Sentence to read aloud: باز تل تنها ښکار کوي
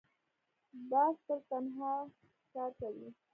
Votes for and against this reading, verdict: 0, 2, rejected